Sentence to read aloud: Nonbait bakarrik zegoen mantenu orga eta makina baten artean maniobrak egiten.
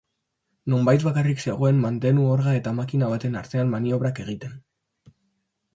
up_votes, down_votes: 2, 1